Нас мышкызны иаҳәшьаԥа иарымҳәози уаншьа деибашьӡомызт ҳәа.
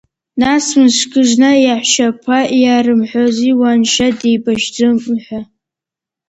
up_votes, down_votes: 1, 2